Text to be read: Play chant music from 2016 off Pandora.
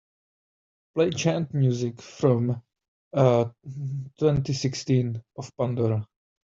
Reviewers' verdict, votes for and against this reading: rejected, 0, 2